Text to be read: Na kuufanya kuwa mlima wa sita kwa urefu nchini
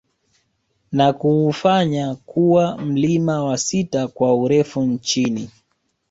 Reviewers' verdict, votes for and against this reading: accepted, 3, 0